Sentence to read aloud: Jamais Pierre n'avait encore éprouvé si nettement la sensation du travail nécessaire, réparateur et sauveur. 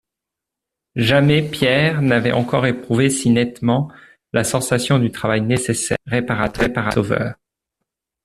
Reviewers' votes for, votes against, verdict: 0, 2, rejected